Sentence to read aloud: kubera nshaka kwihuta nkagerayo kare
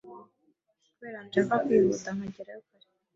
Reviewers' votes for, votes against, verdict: 1, 2, rejected